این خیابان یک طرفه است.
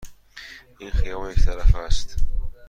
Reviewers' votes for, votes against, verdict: 2, 0, accepted